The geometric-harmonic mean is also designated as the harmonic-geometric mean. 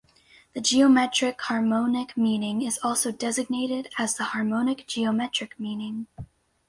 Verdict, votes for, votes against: rejected, 2, 4